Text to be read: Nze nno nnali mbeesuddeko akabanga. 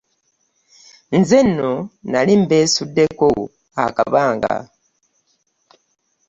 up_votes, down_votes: 0, 2